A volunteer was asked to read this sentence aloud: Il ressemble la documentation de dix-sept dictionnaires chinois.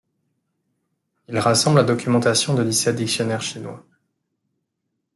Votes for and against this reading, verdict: 0, 2, rejected